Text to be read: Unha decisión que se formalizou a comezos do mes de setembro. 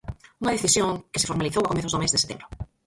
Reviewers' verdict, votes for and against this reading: rejected, 0, 4